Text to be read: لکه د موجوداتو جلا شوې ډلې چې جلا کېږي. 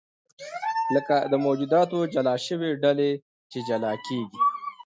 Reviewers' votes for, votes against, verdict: 2, 1, accepted